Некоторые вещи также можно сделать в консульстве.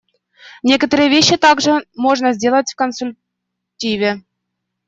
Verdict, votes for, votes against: rejected, 0, 2